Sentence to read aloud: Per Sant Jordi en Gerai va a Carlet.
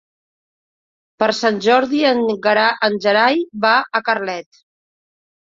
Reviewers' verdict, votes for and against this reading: rejected, 1, 2